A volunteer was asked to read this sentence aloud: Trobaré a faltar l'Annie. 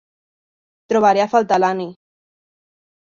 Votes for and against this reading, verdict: 2, 0, accepted